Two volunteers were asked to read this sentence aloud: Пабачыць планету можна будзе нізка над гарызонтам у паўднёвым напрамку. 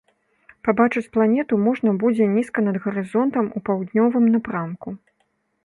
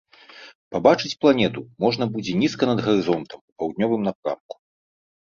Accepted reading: first